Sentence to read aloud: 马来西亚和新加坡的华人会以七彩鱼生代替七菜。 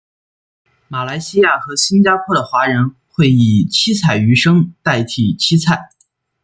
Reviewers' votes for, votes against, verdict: 2, 0, accepted